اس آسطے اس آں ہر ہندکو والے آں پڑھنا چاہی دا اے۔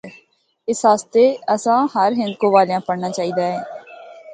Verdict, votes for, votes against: accepted, 2, 0